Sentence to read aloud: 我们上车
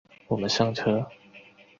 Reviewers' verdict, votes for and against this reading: accepted, 4, 0